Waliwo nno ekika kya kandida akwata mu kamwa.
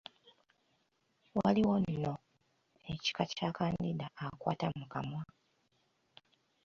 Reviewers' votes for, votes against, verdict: 3, 0, accepted